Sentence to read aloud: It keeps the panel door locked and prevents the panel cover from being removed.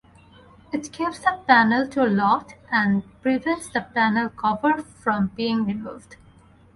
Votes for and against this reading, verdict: 4, 0, accepted